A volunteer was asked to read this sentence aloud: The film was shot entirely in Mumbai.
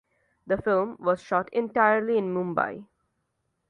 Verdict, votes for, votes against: accepted, 2, 0